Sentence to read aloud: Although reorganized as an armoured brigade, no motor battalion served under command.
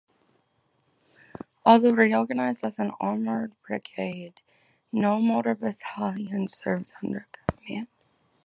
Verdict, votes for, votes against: accepted, 2, 1